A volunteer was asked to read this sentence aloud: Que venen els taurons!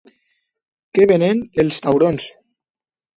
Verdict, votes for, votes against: rejected, 1, 2